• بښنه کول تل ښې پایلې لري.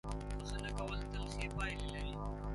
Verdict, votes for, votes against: rejected, 0, 3